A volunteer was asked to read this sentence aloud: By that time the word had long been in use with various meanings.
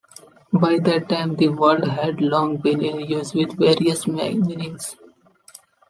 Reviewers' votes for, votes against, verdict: 0, 2, rejected